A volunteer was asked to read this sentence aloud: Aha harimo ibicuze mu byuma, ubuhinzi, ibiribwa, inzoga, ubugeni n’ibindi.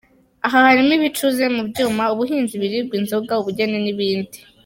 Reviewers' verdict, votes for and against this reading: accepted, 2, 1